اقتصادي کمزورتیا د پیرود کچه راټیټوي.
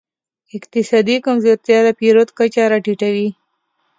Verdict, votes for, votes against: accepted, 2, 0